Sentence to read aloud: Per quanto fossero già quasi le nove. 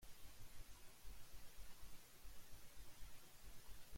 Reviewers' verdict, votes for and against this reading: rejected, 0, 2